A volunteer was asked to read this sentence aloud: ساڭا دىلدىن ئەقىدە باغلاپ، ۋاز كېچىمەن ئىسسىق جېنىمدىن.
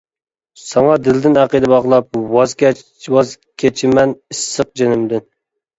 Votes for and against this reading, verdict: 0, 2, rejected